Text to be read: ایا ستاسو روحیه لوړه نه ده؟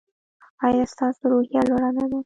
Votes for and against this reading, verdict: 1, 2, rejected